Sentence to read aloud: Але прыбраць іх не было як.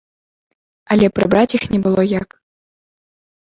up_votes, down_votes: 2, 0